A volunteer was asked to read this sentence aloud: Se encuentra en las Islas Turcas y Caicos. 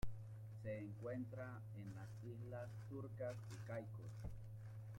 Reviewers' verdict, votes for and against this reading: rejected, 0, 2